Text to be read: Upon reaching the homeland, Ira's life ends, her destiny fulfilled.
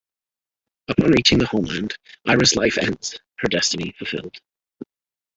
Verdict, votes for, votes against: accepted, 2, 1